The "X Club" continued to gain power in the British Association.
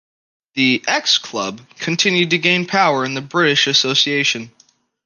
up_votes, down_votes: 2, 0